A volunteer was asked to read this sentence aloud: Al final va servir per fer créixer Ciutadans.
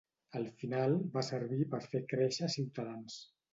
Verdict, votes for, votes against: rejected, 0, 2